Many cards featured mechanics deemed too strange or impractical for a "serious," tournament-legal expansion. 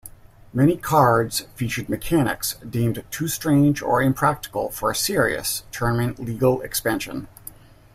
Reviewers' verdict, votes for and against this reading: accepted, 2, 0